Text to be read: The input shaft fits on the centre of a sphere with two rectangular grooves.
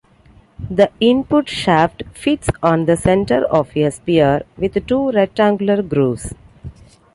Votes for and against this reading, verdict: 2, 0, accepted